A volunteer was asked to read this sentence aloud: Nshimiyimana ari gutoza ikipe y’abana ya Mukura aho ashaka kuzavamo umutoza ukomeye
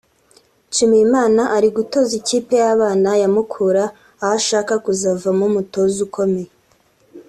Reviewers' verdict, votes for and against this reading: accepted, 3, 0